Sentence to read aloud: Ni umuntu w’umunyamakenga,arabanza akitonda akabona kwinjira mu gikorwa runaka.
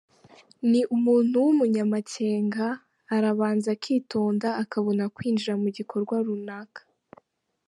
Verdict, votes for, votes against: accepted, 2, 1